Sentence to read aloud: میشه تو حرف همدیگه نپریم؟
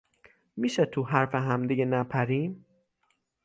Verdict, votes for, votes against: accepted, 9, 0